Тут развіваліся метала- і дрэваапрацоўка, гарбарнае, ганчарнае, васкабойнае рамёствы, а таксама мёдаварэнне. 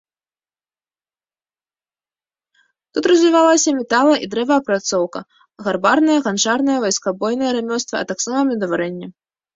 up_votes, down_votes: 1, 2